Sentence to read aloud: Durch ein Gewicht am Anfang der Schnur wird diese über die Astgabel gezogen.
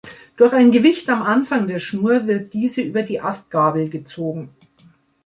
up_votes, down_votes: 2, 0